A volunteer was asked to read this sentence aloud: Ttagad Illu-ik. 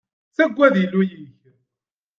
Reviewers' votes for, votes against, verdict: 1, 2, rejected